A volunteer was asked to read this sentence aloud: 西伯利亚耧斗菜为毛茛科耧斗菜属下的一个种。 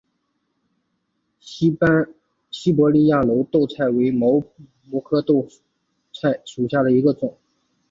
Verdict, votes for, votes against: rejected, 0, 2